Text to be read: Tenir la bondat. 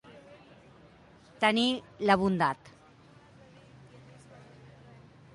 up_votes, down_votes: 2, 0